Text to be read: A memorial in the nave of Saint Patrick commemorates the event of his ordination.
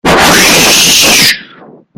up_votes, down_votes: 0, 2